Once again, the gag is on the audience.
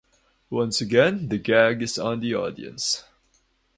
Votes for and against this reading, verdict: 4, 2, accepted